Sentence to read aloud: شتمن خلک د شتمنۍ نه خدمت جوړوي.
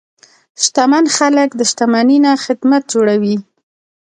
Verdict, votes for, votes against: accepted, 2, 0